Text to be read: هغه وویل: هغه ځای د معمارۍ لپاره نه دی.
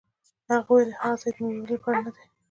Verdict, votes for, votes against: accepted, 2, 0